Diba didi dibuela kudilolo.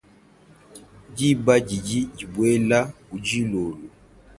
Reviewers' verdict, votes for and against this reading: accepted, 2, 0